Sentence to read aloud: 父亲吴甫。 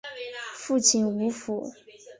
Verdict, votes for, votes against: accepted, 4, 0